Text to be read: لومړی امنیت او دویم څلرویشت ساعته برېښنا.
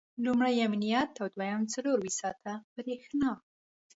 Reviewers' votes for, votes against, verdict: 2, 0, accepted